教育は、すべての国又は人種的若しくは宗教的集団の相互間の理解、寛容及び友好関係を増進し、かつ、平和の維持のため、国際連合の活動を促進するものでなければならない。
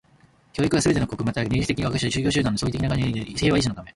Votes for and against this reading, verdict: 0, 2, rejected